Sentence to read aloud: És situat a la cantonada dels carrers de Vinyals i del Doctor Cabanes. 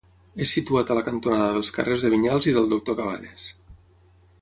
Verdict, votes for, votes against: accepted, 6, 0